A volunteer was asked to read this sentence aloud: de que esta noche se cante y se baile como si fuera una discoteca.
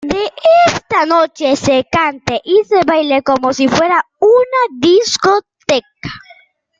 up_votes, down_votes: 0, 2